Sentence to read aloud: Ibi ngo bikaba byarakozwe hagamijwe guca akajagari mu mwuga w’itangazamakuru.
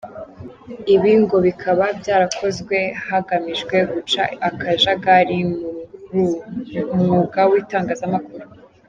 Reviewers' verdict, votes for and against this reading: rejected, 0, 2